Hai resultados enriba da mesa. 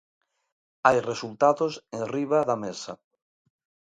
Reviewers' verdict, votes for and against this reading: accepted, 2, 0